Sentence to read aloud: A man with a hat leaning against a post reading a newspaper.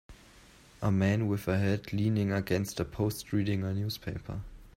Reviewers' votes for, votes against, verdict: 2, 0, accepted